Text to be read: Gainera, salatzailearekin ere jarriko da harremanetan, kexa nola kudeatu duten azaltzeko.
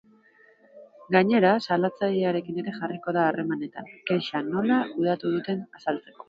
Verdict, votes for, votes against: accepted, 2, 1